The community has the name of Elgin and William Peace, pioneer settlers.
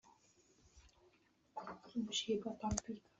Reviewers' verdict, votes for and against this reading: rejected, 0, 2